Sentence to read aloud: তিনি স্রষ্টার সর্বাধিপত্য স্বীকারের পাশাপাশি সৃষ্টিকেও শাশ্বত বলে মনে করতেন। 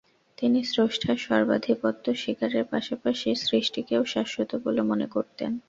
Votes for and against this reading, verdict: 2, 0, accepted